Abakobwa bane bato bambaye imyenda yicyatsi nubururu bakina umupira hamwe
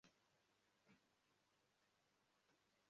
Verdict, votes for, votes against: rejected, 0, 2